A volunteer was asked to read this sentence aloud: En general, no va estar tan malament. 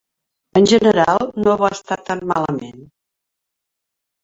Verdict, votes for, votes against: accepted, 3, 1